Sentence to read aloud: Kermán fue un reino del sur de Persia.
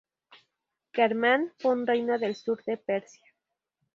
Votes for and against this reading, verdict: 0, 2, rejected